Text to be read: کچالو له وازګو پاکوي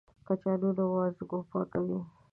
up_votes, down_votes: 1, 2